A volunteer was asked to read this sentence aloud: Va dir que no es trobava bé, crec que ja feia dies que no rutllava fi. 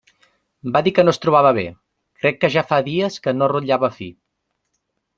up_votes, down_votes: 0, 2